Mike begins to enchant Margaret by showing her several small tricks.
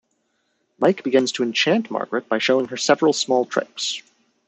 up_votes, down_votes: 2, 0